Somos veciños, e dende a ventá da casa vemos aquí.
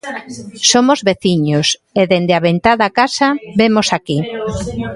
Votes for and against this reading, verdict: 0, 2, rejected